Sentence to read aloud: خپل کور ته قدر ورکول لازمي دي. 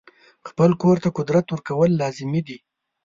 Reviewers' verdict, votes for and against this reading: rejected, 1, 2